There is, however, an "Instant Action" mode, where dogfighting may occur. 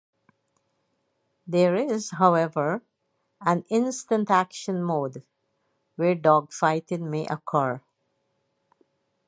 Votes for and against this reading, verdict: 0, 4, rejected